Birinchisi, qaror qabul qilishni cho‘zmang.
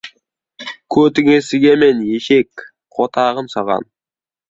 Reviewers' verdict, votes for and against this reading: rejected, 0, 2